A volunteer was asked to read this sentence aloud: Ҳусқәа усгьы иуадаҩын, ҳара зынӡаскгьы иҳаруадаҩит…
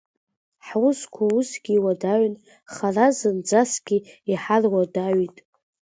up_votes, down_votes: 1, 2